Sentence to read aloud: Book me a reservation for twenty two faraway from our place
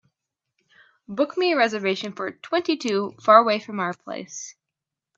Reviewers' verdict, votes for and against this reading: accepted, 2, 0